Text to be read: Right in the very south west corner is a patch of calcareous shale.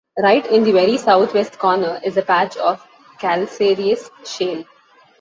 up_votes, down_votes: 1, 2